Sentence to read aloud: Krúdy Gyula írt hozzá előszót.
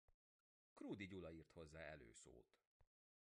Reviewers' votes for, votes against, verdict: 0, 3, rejected